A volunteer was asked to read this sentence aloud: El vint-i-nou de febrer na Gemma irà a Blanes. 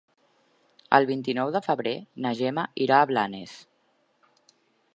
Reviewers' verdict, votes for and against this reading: accepted, 4, 0